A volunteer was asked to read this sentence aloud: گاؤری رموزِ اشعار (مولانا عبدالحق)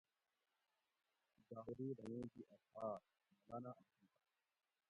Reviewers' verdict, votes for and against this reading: rejected, 0, 2